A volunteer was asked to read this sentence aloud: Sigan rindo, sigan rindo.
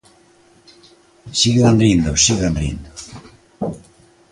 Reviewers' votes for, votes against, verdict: 2, 0, accepted